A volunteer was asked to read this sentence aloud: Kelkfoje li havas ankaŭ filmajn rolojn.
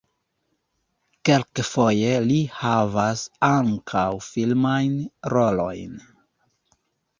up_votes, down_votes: 2, 1